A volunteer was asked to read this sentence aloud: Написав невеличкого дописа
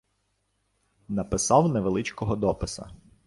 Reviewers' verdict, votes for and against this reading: accepted, 2, 0